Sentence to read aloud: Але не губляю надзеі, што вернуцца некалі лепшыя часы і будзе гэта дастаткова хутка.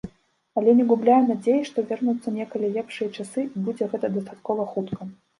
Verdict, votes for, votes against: rejected, 1, 2